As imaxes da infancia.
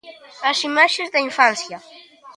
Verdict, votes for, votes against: accepted, 2, 0